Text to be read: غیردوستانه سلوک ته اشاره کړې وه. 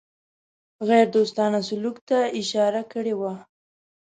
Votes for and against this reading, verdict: 2, 0, accepted